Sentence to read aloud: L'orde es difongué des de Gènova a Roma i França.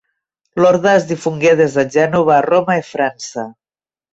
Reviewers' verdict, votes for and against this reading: accepted, 2, 0